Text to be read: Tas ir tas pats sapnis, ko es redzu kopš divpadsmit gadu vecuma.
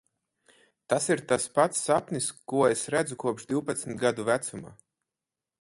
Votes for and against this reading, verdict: 4, 2, accepted